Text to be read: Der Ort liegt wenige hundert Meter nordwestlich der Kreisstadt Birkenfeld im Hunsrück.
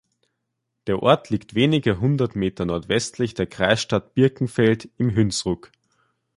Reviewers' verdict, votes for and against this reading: rejected, 0, 2